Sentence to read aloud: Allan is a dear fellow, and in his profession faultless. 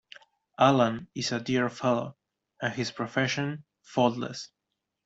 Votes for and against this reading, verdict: 1, 2, rejected